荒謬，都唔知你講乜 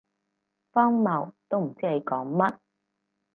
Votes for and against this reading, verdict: 4, 0, accepted